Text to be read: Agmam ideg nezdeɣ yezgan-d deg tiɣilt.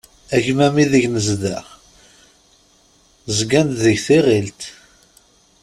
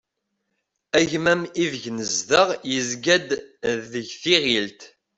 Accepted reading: second